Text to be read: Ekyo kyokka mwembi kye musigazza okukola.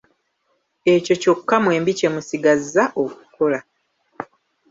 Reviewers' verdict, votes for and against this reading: accepted, 2, 1